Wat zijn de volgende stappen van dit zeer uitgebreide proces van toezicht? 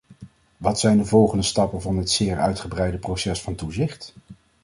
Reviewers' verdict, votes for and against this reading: accepted, 2, 0